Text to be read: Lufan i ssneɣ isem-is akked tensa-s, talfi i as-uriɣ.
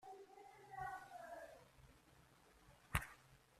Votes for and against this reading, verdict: 0, 2, rejected